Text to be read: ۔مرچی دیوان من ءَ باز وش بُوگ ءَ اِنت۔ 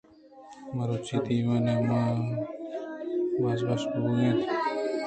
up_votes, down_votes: 2, 0